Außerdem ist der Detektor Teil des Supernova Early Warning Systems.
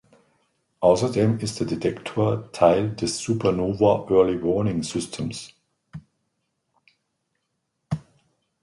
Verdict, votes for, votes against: accepted, 2, 0